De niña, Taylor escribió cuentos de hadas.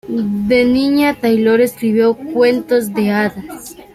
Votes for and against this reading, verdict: 2, 1, accepted